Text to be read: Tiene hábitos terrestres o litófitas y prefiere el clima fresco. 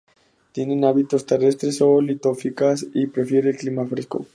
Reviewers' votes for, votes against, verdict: 0, 2, rejected